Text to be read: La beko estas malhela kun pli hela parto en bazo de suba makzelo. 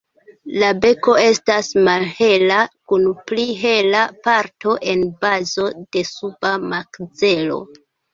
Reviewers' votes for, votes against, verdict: 2, 1, accepted